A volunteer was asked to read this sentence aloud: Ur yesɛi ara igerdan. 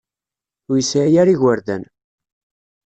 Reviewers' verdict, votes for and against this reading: accepted, 2, 0